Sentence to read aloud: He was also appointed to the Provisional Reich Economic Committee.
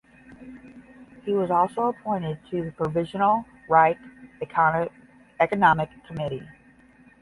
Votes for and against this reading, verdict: 0, 10, rejected